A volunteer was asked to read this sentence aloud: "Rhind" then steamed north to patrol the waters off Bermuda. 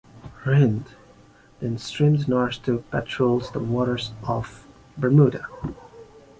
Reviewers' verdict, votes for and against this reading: accepted, 2, 1